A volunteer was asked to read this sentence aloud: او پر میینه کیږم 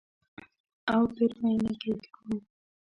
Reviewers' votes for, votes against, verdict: 1, 2, rejected